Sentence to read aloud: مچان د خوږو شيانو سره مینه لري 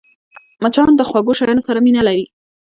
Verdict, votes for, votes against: rejected, 1, 2